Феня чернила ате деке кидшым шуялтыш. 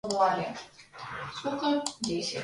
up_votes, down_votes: 0, 2